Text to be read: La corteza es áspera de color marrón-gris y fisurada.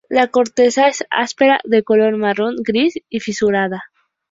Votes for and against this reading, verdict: 2, 0, accepted